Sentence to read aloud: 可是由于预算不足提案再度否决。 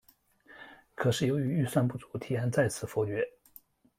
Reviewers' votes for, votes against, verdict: 1, 4, rejected